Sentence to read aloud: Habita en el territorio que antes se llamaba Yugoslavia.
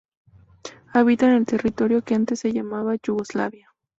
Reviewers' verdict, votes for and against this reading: accepted, 2, 0